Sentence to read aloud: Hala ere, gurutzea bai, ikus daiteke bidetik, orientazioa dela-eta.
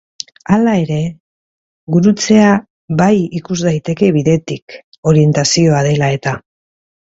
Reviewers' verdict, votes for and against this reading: accepted, 2, 0